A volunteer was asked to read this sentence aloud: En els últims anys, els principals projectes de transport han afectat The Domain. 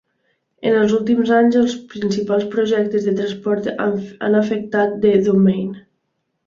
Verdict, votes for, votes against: accepted, 2, 0